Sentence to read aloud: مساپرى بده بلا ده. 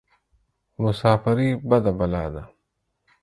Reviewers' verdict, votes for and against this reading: accepted, 4, 0